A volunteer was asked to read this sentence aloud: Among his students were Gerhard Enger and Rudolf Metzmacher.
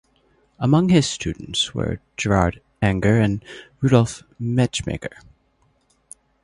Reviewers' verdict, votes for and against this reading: rejected, 0, 2